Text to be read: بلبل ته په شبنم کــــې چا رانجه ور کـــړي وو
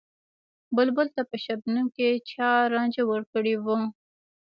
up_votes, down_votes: 1, 2